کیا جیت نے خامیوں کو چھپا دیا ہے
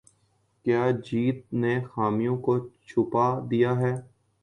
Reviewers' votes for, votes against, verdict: 2, 0, accepted